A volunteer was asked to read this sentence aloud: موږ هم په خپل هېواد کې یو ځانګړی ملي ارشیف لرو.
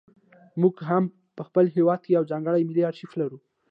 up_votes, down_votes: 2, 0